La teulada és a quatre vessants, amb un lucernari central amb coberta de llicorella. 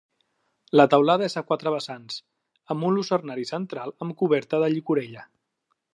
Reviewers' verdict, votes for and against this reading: accepted, 2, 0